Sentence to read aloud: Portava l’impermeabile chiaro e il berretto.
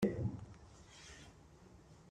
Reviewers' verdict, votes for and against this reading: rejected, 0, 2